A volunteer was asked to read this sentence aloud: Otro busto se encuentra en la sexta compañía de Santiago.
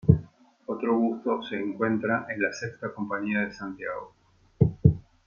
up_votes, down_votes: 1, 2